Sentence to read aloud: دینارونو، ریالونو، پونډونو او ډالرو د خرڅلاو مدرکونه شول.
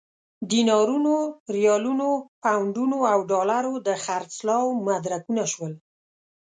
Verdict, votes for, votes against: accepted, 2, 0